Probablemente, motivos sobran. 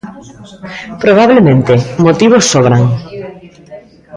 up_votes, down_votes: 2, 0